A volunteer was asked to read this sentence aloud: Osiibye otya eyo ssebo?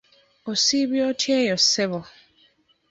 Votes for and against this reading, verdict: 2, 0, accepted